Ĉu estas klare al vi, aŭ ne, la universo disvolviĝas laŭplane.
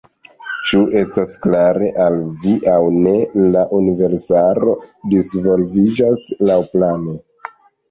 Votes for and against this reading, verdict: 0, 2, rejected